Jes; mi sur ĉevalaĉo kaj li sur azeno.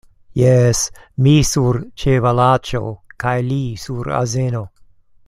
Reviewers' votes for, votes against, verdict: 2, 0, accepted